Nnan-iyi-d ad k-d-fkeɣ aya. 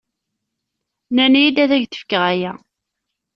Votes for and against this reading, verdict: 2, 0, accepted